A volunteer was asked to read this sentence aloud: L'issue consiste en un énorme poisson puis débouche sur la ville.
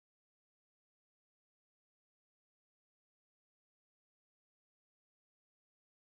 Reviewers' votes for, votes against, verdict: 0, 2, rejected